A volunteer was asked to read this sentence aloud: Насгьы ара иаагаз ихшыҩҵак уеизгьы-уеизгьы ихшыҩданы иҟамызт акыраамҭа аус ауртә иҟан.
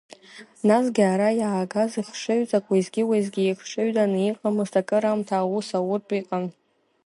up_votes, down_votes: 2, 0